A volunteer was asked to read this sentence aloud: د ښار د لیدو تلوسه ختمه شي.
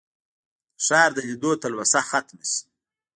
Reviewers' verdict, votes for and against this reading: rejected, 0, 2